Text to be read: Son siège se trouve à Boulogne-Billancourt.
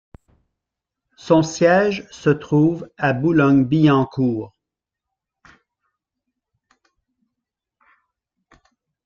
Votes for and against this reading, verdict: 0, 2, rejected